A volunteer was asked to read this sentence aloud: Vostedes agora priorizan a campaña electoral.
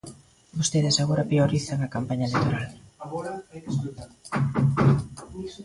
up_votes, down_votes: 0, 2